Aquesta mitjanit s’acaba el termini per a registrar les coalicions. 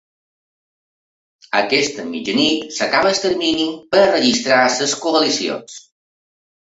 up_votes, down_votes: 0, 3